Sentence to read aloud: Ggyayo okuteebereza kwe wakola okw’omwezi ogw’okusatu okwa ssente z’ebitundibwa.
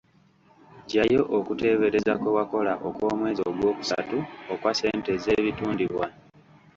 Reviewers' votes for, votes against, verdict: 1, 2, rejected